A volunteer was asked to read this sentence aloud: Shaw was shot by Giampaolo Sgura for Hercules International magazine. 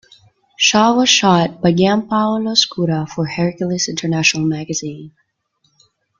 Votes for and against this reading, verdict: 2, 0, accepted